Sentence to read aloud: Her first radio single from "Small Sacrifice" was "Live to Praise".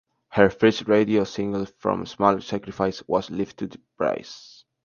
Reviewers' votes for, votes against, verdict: 2, 0, accepted